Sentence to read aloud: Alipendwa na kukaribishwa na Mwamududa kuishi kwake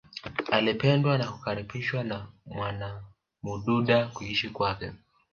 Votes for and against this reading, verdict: 2, 1, accepted